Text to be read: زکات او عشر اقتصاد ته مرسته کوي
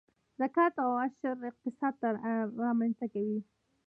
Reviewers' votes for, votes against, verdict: 0, 2, rejected